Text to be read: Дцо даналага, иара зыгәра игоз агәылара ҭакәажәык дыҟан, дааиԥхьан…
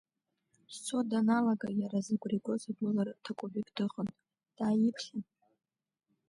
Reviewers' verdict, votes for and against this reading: rejected, 1, 2